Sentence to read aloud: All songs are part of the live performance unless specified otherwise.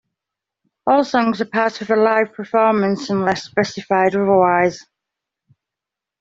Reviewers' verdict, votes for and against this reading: accepted, 2, 0